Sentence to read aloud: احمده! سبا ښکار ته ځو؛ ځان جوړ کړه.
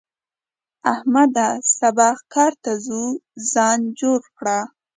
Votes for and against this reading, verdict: 3, 0, accepted